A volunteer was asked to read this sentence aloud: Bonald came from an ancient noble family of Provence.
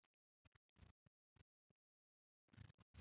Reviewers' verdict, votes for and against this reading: rejected, 0, 2